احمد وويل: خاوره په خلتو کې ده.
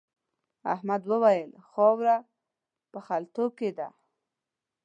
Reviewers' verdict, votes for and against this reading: accepted, 2, 0